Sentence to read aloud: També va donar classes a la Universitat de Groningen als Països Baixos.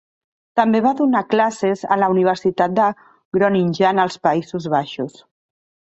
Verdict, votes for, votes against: rejected, 1, 2